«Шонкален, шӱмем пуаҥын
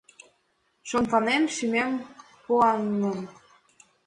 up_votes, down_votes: 1, 2